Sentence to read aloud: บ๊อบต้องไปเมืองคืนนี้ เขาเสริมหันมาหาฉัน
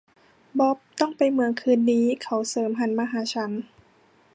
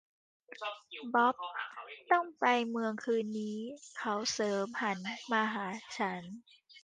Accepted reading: first